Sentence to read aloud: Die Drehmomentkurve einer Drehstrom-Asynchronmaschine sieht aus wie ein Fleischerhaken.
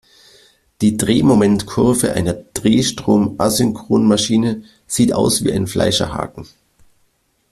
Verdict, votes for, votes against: accepted, 2, 0